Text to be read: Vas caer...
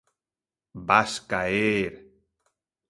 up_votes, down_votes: 2, 0